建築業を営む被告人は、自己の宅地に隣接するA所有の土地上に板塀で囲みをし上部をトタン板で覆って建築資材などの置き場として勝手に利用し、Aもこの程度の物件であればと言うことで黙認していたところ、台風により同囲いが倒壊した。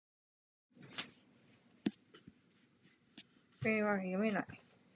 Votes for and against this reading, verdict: 0, 6, rejected